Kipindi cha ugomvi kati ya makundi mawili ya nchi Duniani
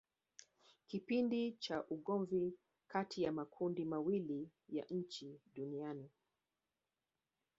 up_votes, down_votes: 1, 2